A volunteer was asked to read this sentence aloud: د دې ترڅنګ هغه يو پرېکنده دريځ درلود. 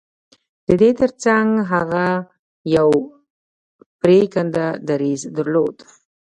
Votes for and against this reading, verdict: 1, 2, rejected